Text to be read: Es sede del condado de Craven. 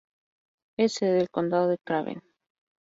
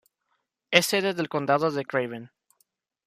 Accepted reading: first